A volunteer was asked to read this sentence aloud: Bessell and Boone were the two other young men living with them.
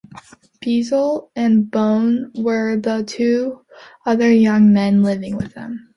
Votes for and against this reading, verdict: 1, 2, rejected